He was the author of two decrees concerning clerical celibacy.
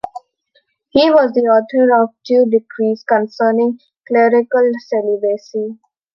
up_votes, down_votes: 2, 0